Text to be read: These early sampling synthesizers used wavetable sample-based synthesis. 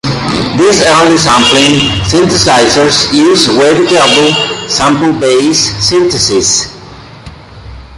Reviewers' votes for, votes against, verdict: 1, 2, rejected